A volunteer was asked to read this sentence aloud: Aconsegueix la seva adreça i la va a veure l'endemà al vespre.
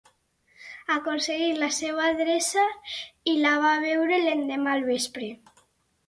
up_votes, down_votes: 4, 0